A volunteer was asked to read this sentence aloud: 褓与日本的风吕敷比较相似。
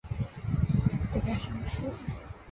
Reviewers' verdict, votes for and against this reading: accepted, 3, 0